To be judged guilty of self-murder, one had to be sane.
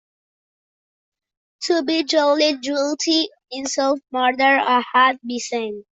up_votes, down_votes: 0, 2